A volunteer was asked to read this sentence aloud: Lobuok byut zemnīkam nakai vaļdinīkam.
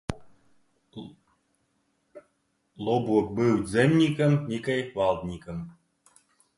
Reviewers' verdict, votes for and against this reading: rejected, 1, 2